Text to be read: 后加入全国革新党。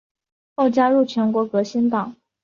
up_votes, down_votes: 1, 2